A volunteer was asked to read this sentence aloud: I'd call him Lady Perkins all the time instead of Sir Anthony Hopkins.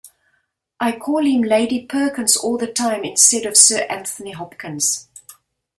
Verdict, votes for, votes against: accepted, 2, 0